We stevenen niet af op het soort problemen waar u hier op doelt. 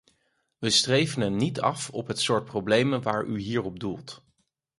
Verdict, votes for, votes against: rejected, 0, 4